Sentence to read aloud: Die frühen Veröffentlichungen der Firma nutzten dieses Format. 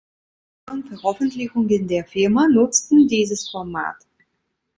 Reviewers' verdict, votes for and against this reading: rejected, 1, 3